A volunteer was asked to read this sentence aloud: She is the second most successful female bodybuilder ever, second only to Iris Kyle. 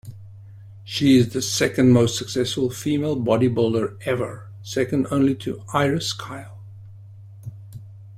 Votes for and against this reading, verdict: 1, 2, rejected